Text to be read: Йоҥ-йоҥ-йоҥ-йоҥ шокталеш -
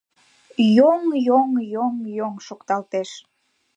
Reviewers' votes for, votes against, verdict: 0, 2, rejected